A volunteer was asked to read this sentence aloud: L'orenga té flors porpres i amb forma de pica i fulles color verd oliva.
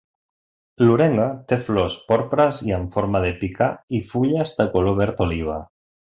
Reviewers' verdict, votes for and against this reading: rejected, 0, 2